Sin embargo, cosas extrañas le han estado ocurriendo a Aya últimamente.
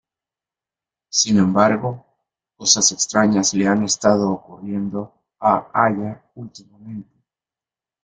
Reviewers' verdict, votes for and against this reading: rejected, 0, 2